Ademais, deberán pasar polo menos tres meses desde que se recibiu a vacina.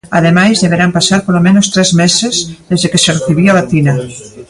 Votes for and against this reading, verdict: 2, 0, accepted